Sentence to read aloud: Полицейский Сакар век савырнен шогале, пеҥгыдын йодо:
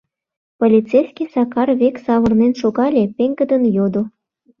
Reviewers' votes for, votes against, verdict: 2, 0, accepted